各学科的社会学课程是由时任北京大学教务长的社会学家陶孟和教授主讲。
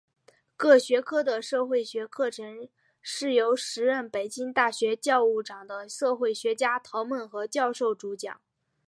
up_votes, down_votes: 4, 1